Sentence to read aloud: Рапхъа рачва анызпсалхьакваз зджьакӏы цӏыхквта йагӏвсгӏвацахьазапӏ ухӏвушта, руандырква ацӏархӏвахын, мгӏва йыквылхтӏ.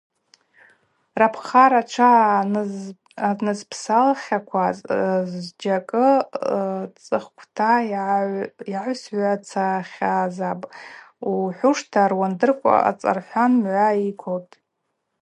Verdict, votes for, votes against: rejected, 2, 2